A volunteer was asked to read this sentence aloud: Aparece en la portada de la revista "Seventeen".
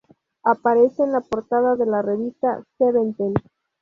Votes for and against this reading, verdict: 2, 0, accepted